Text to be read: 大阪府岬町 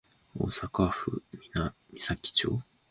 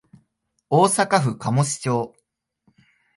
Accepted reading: second